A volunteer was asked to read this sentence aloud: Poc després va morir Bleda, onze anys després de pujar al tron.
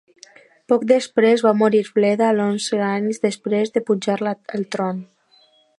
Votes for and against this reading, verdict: 0, 2, rejected